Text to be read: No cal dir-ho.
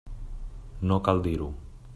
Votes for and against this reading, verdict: 3, 0, accepted